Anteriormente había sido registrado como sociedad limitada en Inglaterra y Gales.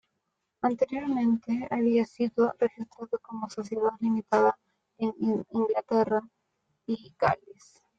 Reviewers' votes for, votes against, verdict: 0, 2, rejected